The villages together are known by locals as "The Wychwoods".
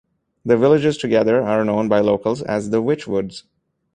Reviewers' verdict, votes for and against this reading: accepted, 2, 0